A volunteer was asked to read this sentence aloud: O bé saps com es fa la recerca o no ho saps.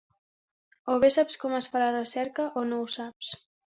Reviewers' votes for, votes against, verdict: 2, 1, accepted